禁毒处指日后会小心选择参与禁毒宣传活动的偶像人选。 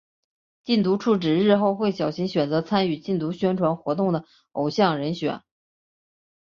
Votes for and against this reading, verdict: 7, 0, accepted